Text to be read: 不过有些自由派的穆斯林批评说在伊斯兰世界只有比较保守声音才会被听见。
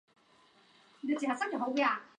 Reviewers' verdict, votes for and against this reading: rejected, 0, 4